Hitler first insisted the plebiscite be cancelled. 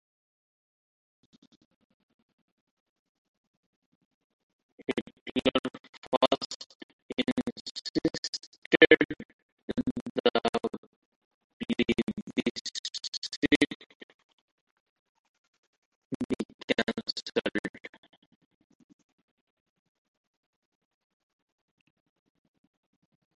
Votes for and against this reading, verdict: 0, 2, rejected